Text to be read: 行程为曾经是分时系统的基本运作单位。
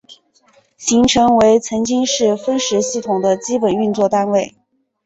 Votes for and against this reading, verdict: 4, 0, accepted